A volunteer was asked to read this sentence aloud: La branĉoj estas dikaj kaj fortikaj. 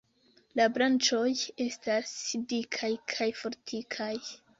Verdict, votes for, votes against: rejected, 1, 2